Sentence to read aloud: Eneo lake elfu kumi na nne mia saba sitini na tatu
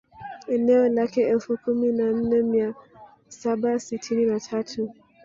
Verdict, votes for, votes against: rejected, 1, 2